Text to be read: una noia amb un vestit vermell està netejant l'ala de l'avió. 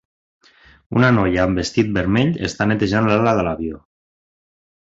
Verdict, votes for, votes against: rejected, 0, 2